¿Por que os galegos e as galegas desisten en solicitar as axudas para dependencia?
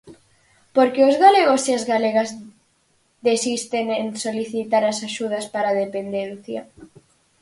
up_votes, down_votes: 4, 0